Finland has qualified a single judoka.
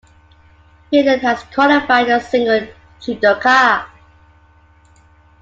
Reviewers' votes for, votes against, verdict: 2, 0, accepted